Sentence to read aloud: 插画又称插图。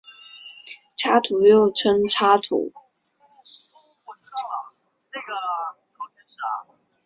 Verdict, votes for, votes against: rejected, 1, 2